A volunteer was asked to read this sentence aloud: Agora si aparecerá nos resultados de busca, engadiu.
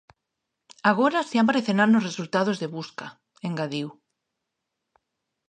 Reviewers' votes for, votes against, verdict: 2, 1, accepted